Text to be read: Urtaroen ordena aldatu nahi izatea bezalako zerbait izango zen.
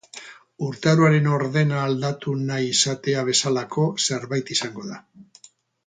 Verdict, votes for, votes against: rejected, 2, 2